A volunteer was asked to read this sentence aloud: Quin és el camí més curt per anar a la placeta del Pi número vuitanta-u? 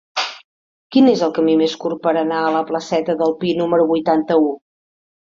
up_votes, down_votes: 3, 0